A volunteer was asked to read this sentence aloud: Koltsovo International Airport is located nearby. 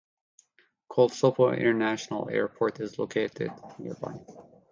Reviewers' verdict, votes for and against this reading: rejected, 0, 2